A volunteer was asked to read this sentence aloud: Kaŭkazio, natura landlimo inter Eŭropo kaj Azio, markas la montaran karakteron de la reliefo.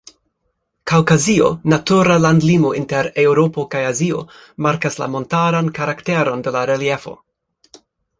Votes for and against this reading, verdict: 3, 0, accepted